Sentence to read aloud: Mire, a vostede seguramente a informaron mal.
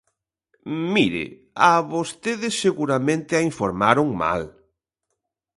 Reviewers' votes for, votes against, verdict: 2, 0, accepted